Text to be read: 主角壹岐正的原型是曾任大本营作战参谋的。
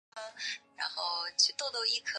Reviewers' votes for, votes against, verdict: 0, 2, rejected